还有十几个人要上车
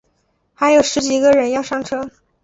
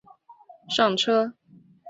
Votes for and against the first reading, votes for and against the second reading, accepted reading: 2, 0, 1, 3, first